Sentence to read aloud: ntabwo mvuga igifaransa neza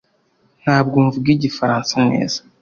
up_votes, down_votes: 2, 0